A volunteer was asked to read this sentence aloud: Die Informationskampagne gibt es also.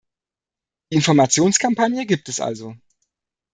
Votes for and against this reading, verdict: 1, 2, rejected